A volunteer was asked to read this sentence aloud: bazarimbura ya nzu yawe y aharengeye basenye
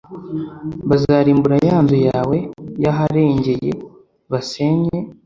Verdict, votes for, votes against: accepted, 2, 0